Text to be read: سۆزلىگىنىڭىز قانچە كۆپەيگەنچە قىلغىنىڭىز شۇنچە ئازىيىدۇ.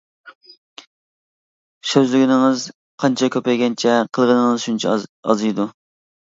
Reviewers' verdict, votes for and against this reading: rejected, 0, 2